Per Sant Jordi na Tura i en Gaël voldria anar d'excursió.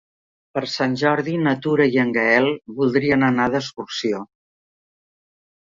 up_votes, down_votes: 1, 2